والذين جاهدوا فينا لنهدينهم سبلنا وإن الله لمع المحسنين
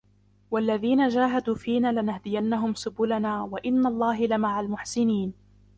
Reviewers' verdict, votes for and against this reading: rejected, 1, 2